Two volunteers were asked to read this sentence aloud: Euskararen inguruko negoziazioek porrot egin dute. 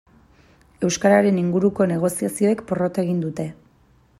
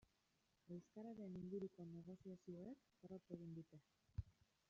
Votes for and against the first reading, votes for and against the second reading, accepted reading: 2, 0, 0, 2, first